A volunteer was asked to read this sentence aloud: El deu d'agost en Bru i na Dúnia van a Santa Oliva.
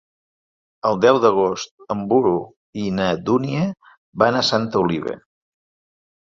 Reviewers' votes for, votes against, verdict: 0, 2, rejected